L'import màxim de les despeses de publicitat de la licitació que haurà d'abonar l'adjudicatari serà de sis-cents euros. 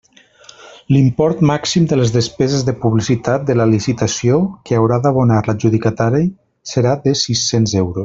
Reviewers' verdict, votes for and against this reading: rejected, 1, 2